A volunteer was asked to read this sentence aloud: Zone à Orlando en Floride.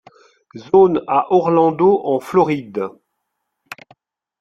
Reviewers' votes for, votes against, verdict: 2, 0, accepted